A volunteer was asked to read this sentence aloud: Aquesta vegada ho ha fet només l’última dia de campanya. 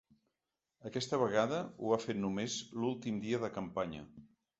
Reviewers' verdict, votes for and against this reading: rejected, 0, 3